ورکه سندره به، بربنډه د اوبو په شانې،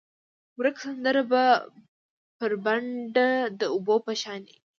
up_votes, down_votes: 2, 1